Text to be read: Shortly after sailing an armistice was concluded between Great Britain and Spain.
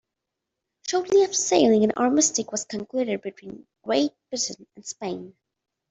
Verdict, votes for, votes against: rejected, 1, 2